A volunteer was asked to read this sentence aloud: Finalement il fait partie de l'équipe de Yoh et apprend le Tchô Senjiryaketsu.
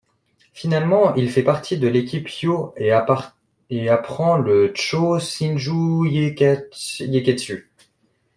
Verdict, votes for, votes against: rejected, 0, 2